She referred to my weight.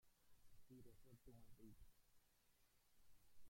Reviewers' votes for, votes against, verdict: 0, 2, rejected